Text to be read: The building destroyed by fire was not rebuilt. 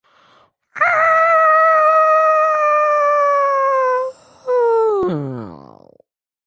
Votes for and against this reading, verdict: 0, 2, rejected